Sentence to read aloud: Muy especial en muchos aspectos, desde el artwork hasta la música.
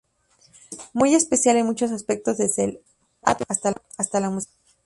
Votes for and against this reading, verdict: 2, 2, rejected